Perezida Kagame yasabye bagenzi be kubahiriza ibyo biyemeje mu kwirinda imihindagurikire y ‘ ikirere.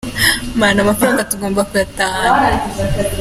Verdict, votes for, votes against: rejected, 0, 2